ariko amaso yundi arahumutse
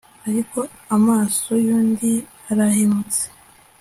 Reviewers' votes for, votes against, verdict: 2, 1, accepted